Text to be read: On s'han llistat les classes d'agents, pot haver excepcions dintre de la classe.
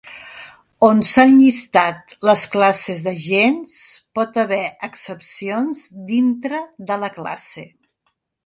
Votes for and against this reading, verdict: 3, 0, accepted